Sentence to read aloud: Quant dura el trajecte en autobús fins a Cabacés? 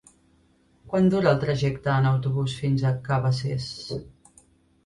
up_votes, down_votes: 3, 0